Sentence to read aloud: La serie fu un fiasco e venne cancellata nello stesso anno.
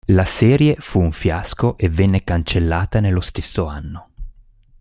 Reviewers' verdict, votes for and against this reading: accepted, 2, 0